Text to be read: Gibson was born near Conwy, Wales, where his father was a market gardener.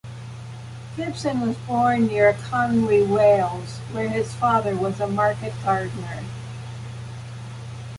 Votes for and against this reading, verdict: 2, 1, accepted